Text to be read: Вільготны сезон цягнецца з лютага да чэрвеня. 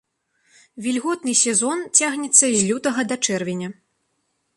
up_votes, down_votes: 2, 0